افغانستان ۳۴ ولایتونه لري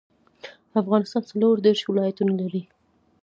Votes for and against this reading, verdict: 0, 2, rejected